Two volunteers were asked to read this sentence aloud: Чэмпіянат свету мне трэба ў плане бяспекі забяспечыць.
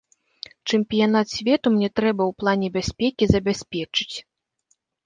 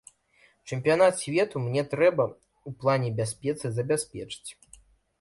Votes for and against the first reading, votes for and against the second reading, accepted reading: 2, 0, 0, 2, first